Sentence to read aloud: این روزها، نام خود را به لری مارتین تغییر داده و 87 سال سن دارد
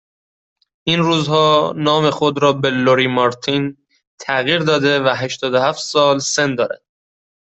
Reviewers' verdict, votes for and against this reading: rejected, 0, 2